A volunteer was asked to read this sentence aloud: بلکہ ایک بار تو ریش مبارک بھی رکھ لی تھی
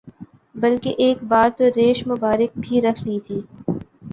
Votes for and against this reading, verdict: 2, 0, accepted